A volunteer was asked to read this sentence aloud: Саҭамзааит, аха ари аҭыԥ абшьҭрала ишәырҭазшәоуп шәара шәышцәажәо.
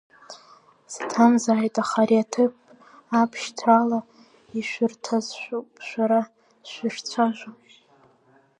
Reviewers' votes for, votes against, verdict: 0, 2, rejected